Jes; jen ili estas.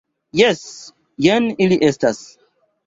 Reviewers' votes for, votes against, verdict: 2, 0, accepted